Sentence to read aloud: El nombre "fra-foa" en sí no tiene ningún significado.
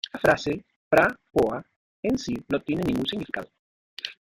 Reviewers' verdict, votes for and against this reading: rejected, 0, 2